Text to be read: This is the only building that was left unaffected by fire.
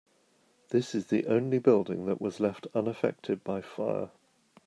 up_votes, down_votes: 2, 1